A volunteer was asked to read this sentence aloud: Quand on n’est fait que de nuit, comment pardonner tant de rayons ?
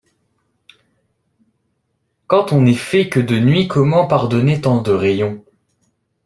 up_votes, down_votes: 2, 0